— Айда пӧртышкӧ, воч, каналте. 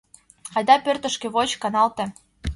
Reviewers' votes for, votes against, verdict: 2, 0, accepted